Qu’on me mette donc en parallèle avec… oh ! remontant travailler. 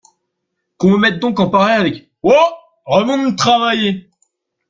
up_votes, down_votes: 0, 2